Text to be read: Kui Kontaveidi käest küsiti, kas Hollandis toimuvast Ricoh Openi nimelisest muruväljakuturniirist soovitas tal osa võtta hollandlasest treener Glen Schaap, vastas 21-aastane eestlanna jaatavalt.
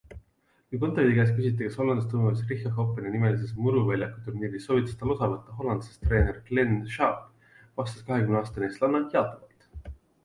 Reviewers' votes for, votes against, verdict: 0, 2, rejected